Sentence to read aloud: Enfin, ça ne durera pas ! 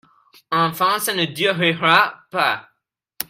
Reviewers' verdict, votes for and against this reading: rejected, 0, 2